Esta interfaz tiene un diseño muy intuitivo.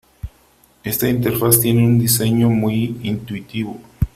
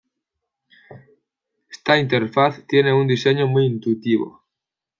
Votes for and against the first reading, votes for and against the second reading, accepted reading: 3, 0, 1, 2, first